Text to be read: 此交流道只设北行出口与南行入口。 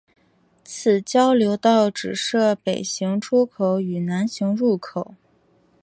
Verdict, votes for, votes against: accepted, 2, 0